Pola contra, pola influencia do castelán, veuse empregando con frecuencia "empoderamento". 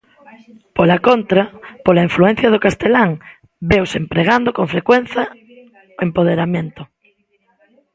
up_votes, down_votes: 1, 2